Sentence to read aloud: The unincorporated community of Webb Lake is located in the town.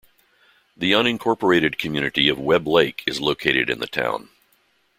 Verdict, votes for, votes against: accepted, 2, 0